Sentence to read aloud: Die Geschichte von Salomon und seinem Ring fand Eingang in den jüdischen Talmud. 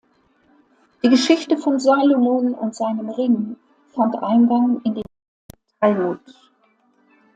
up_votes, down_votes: 0, 2